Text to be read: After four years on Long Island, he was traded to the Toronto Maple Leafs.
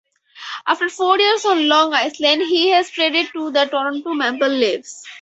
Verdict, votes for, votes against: rejected, 0, 4